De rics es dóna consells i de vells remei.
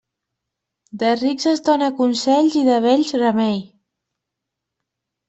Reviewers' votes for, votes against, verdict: 2, 0, accepted